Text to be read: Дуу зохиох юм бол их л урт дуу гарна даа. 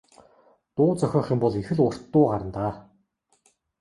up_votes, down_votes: 2, 0